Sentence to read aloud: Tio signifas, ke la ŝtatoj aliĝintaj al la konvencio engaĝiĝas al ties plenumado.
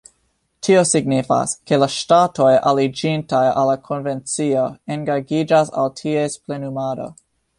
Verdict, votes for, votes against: accepted, 2, 1